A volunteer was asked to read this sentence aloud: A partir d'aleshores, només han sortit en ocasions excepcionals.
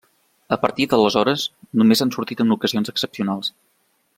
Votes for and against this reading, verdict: 3, 0, accepted